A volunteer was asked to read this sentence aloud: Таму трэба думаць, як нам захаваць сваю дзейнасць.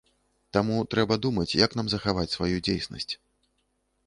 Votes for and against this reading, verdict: 0, 2, rejected